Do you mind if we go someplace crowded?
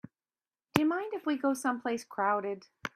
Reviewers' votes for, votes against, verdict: 2, 0, accepted